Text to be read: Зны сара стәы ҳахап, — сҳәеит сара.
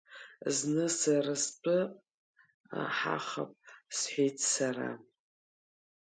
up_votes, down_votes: 0, 2